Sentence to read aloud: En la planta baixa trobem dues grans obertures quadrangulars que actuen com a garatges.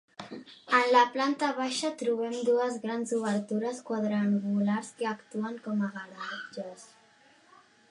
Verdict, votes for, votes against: accepted, 2, 1